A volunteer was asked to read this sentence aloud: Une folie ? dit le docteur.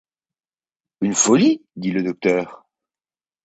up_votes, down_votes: 2, 0